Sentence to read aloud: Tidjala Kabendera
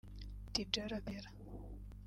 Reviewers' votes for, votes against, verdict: 0, 3, rejected